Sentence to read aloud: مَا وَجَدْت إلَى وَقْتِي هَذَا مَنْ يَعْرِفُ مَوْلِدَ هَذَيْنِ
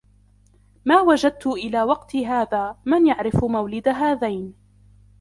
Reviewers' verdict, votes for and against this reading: accepted, 2, 0